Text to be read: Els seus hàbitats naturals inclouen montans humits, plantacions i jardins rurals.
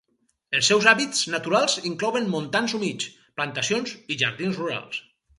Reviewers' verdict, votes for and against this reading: rejected, 2, 2